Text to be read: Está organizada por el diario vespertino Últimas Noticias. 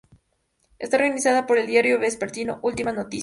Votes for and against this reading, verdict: 0, 2, rejected